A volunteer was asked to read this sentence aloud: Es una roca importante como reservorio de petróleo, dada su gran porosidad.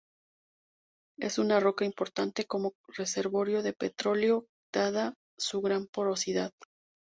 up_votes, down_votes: 2, 4